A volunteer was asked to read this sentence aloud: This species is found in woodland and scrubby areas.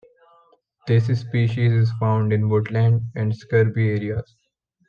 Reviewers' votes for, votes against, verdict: 0, 2, rejected